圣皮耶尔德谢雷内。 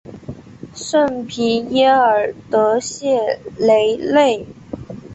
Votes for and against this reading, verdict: 3, 1, accepted